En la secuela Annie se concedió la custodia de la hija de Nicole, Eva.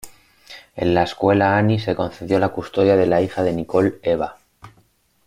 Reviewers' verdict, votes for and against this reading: rejected, 1, 2